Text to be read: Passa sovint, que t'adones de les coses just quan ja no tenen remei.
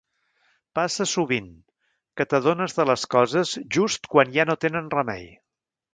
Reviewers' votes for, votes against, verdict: 3, 0, accepted